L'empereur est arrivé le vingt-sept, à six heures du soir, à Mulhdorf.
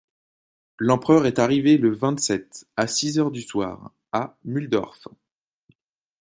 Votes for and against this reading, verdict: 2, 0, accepted